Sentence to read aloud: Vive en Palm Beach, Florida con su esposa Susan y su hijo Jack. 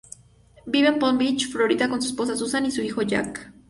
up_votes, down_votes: 2, 0